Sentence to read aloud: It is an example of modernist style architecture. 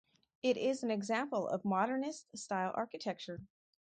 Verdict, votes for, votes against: accepted, 4, 0